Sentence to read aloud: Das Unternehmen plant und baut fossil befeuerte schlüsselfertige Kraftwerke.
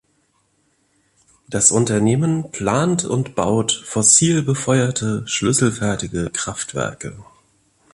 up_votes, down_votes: 2, 0